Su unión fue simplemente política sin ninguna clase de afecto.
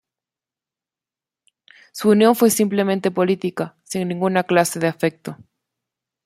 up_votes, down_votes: 2, 0